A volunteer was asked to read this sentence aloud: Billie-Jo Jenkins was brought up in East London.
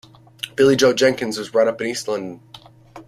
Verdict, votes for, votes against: accepted, 2, 0